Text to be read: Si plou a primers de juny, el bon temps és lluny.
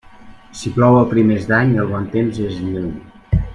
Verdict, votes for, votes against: rejected, 0, 2